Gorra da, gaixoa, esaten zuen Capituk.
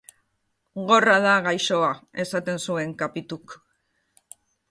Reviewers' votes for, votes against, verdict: 2, 0, accepted